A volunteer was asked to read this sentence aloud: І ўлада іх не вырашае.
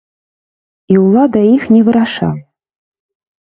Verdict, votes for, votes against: rejected, 0, 2